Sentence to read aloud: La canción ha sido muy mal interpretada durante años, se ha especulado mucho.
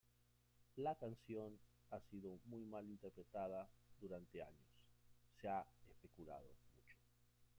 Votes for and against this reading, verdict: 1, 2, rejected